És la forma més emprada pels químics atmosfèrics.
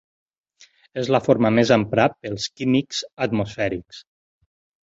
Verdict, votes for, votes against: rejected, 0, 4